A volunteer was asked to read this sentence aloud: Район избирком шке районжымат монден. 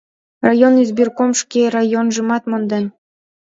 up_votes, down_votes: 3, 0